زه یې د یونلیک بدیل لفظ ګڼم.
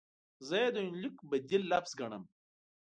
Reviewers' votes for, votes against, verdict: 2, 0, accepted